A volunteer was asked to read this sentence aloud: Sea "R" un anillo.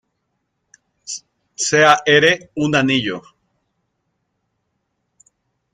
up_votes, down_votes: 1, 2